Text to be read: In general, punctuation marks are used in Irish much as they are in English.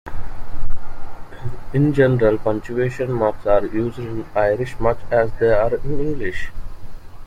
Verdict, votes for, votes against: rejected, 1, 2